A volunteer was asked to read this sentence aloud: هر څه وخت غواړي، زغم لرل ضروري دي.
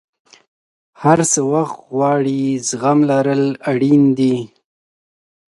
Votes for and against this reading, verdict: 1, 2, rejected